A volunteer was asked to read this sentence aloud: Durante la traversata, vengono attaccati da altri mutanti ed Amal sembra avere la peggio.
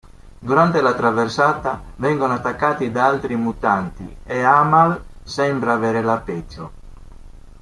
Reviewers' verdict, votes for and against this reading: accepted, 2, 1